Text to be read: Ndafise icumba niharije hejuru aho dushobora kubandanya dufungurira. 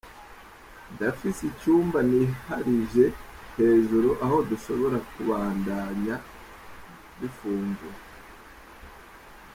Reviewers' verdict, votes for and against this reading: rejected, 0, 2